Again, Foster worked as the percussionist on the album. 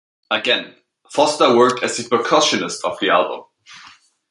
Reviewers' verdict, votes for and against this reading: rejected, 0, 2